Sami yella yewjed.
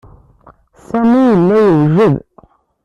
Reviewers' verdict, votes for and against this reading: rejected, 1, 2